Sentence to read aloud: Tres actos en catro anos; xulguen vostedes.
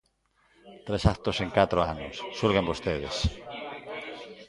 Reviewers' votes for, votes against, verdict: 1, 2, rejected